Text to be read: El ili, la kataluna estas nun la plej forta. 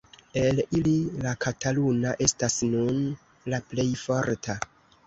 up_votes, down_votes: 1, 2